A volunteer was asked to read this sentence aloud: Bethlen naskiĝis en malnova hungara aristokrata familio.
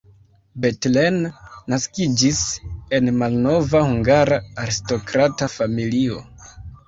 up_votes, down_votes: 2, 0